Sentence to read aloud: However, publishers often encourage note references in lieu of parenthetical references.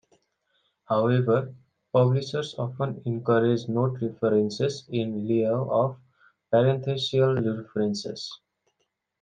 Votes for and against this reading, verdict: 2, 1, accepted